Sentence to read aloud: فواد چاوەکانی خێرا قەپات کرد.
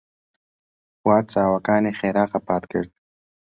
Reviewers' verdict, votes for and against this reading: rejected, 2, 3